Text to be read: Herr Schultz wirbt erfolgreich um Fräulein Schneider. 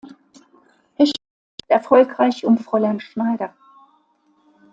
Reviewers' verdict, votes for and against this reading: rejected, 0, 2